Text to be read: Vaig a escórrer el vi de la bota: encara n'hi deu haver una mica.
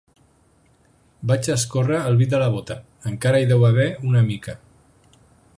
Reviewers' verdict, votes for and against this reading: rejected, 3, 9